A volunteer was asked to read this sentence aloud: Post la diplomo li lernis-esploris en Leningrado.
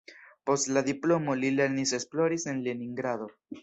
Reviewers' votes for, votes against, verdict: 2, 0, accepted